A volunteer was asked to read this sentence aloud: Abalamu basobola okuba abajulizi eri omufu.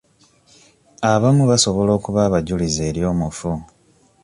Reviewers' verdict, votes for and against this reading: rejected, 1, 2